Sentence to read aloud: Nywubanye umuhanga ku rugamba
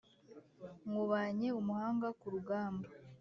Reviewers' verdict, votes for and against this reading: accepted, 2, 0